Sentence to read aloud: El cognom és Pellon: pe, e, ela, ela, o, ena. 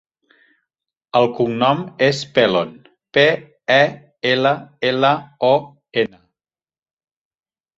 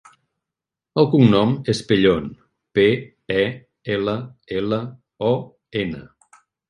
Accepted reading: second